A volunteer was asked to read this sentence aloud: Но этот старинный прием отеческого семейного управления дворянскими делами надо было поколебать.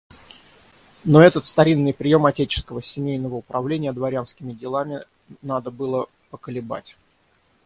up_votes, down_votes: 3, 0